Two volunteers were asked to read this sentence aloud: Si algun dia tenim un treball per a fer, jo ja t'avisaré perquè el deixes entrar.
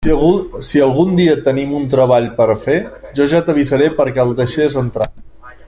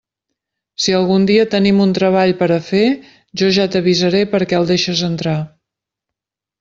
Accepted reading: second